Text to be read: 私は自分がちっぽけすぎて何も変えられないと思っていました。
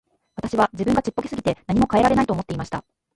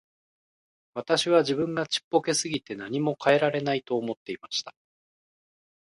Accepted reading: second